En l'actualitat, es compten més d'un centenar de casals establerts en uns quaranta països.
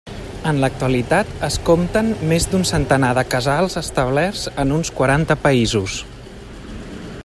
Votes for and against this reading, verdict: 3, 0, accepted